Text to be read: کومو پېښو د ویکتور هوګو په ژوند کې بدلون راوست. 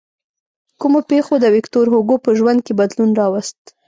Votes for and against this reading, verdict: 2, 0, accepted